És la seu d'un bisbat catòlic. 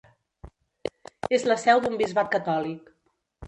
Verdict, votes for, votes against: rejected, 1, 2